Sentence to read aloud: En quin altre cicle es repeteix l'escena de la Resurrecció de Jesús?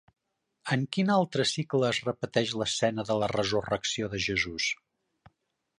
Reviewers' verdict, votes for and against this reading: accepted, 3, 0